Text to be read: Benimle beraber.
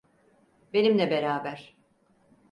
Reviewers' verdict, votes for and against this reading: accepted, 4, 0